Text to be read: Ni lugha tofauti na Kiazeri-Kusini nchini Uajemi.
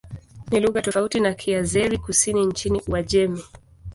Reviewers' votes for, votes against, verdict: 2, 0, accepted